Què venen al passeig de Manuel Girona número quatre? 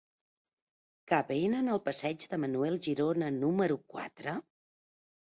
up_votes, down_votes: 1, 2